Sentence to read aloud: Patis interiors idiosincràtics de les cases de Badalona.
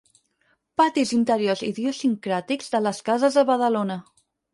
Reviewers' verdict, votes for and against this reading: rejected, 0, 4